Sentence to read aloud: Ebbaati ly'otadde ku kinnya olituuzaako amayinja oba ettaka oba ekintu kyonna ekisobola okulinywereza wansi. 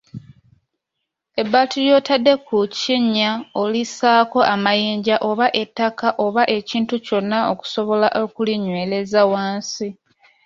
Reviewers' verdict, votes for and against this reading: rejected, 1, 2